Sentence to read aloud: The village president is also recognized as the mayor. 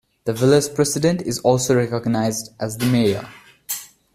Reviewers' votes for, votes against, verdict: 2, 0, accepted